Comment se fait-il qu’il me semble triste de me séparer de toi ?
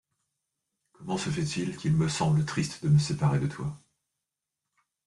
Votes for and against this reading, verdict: 1, 2, rejected